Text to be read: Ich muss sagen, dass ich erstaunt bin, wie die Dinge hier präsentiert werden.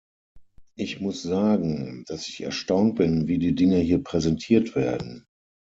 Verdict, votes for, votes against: accepted, 6, 0